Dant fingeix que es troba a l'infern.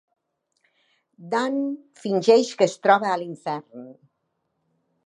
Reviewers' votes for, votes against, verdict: 2, 0, accepted